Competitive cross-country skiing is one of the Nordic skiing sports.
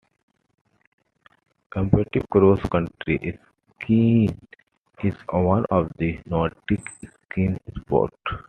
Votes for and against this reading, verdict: 0, 2, rejected